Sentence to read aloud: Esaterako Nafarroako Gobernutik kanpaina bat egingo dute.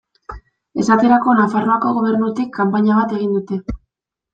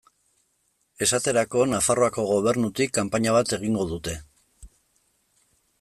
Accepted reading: second